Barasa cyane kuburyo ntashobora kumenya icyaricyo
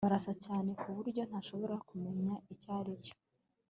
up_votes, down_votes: 3, 0